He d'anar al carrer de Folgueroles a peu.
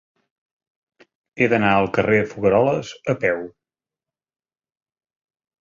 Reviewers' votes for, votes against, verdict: 0, 2, rejected